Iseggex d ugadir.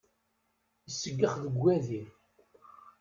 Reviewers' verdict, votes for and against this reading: rejected, 1, 2